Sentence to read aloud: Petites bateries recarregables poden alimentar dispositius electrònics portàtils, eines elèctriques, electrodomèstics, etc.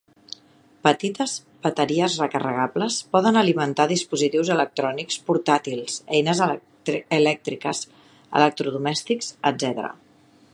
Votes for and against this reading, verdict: 1, 2, rejected